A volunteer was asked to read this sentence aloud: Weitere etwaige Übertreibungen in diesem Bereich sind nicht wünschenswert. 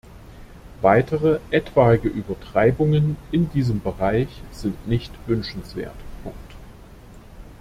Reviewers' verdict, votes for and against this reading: rejected, 0, 2